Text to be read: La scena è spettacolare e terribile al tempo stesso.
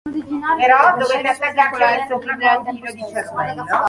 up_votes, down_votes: 0, 2